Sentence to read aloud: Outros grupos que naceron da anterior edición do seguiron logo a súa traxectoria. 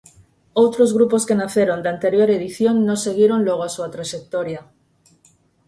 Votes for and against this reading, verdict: 0, 4, rejected